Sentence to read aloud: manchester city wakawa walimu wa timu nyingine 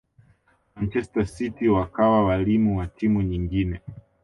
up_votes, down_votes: 2, 0